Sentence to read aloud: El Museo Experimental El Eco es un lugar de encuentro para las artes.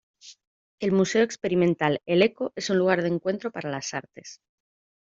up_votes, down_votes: 2, 0